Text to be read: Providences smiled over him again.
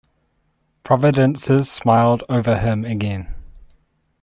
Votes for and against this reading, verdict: 2, 0, accepted